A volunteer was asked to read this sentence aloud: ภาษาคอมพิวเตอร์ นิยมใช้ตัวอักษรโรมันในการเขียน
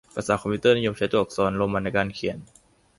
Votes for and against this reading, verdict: 2, 0, accepted